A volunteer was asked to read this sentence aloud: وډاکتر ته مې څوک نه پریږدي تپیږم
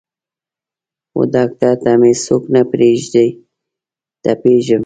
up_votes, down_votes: 1, 2